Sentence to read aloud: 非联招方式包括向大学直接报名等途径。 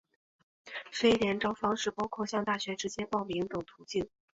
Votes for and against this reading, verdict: 9, 2, accepted